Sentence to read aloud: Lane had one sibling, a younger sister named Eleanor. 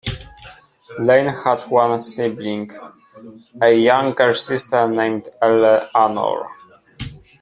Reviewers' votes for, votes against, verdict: 0, 2, rejected